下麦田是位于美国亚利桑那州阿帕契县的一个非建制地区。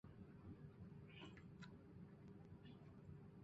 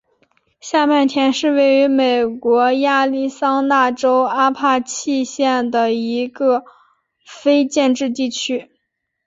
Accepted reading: second